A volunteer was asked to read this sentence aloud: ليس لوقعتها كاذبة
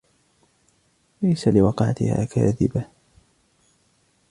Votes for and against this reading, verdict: 1, 2, rejected